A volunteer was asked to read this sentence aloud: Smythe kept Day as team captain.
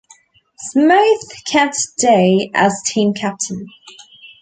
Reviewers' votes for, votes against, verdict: 2, 0, accepted